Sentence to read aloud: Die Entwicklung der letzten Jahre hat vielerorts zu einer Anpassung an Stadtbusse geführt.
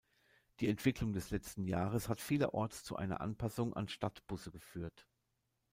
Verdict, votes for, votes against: rejected, 0, 2